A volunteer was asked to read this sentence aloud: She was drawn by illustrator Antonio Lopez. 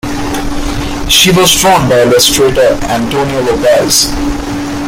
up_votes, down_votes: 2, 1